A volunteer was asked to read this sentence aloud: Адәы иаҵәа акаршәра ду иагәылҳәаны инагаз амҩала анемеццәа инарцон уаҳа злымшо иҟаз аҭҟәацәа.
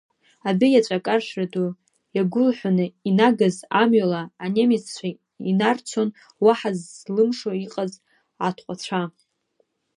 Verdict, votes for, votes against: accepted, 2, 1